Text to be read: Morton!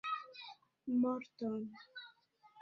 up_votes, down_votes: 3, 1